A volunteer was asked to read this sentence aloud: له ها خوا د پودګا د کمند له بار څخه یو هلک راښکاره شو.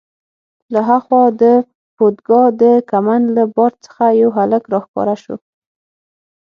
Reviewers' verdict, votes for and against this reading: accepted, 6, 0